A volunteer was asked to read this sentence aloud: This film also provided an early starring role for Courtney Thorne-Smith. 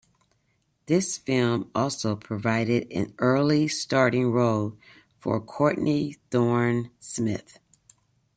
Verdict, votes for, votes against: accepted, 2, 1